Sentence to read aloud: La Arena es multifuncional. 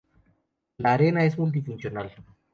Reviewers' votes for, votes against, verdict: 2, 0, accepted